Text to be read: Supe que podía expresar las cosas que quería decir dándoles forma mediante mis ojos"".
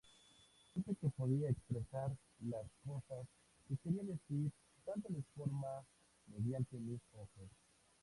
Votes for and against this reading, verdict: 2, 2, rejected